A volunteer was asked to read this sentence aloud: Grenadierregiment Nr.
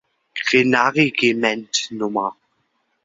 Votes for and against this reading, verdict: 0, 2, rejected